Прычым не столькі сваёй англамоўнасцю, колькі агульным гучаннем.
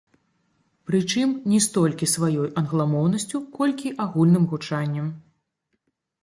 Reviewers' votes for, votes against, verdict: 0, 2, rejected